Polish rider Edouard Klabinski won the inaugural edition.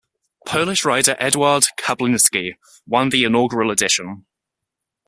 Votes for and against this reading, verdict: 0, 2, rejected